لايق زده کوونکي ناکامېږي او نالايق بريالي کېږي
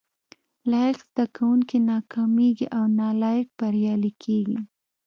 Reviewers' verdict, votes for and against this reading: accepted, 2, 0